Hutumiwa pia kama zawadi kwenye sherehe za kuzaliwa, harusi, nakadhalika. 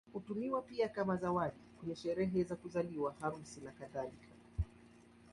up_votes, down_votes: 2, 0